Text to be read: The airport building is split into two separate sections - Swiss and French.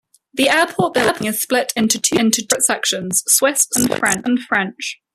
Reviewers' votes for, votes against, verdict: 0, 2, rejected